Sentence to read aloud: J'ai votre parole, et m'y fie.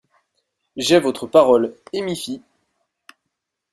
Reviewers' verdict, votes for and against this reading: accepted, 2, 0